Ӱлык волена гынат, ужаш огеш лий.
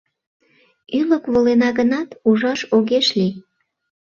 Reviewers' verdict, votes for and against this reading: accepted, 2, 0